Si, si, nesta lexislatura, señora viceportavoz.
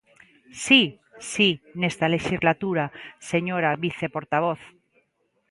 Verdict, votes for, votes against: accepted, 2, 0